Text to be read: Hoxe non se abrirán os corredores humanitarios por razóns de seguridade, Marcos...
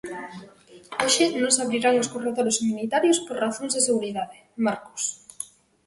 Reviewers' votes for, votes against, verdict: 1, 2, rejected